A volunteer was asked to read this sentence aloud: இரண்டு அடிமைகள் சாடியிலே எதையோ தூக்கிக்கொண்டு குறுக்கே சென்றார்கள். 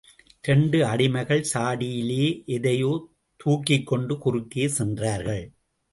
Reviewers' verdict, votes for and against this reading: accepted, 2, 0